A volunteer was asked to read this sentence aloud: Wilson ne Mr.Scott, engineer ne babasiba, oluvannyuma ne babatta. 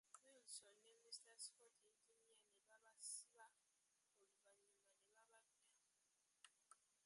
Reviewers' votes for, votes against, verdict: 0, 2, rejected